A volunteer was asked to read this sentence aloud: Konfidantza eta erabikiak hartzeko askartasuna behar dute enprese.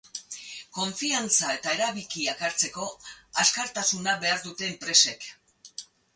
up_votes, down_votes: 2, 4